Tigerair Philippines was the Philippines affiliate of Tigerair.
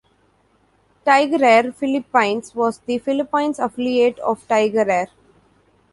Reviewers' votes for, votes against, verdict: 1, 2, rejected